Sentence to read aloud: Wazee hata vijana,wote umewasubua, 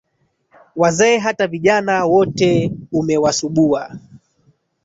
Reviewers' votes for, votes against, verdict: 1, 2, rejected